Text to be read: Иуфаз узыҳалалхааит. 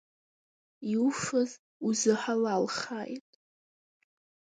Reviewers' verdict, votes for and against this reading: accepted, 10, 1